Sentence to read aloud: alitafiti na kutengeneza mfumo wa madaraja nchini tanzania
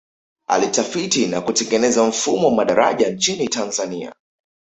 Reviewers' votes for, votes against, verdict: 2, 0, accepted